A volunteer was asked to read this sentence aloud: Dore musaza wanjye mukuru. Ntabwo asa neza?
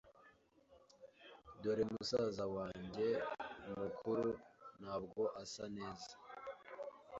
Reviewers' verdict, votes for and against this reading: accepted, 2, 0